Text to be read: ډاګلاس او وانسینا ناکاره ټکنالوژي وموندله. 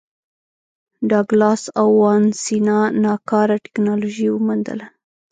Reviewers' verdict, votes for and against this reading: rejected, 0, 2